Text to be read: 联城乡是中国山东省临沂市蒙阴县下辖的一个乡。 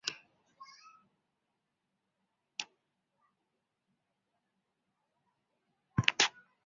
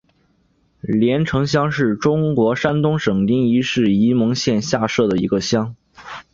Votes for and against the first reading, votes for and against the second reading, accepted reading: 0, 2, 2, 0, second